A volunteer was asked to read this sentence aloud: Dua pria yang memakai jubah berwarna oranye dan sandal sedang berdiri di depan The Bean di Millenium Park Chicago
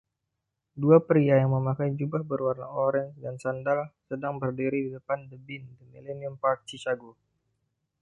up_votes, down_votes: 1, 2